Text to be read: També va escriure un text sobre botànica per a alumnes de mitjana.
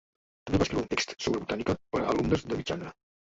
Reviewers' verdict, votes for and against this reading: rejected, 0, 2